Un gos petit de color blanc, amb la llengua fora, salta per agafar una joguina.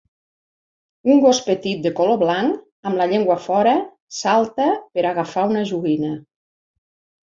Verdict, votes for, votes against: accepted, 3, 0